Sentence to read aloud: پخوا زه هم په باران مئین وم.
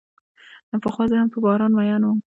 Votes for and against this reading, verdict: 1, 2, rejected